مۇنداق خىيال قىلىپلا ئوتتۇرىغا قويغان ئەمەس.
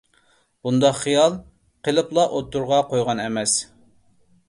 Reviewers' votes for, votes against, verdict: 2, 0, accepted